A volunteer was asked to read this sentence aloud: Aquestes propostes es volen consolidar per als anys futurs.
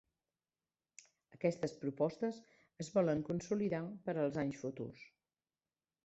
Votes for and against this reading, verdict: 1, 2, rejected